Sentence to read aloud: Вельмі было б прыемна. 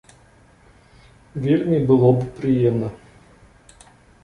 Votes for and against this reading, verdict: 2, 0, accepted